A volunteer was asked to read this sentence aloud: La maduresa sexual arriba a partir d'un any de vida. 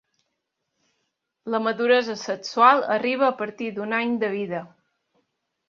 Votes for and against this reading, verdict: 3, 0, accepted